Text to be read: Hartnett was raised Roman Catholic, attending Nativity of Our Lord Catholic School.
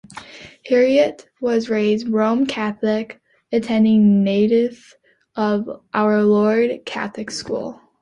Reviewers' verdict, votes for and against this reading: rejected, 0, 2